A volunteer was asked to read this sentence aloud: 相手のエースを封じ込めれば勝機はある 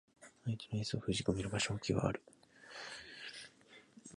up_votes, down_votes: 1, 2